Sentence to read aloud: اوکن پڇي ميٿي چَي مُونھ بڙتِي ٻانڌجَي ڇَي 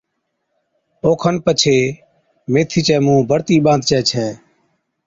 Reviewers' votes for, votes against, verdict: 2, 0, accepted